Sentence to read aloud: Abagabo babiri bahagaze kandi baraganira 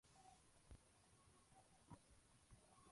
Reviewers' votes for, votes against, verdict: 0, 2, rejected